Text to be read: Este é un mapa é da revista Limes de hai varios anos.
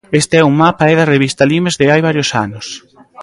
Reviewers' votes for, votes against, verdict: 2, 0, accepted